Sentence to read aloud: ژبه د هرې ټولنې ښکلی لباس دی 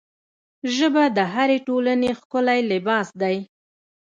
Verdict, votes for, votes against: rejected, 1, 2